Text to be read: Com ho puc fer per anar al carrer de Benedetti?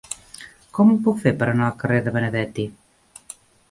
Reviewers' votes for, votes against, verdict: 2, 0, accepted